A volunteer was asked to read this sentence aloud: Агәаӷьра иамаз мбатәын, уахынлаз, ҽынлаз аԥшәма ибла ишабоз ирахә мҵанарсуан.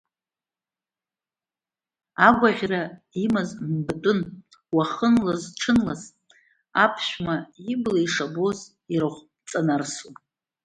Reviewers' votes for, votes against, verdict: 0, 2, rejected